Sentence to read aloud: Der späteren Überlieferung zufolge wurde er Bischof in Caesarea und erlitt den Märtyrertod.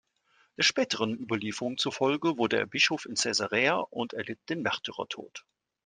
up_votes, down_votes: 2, 0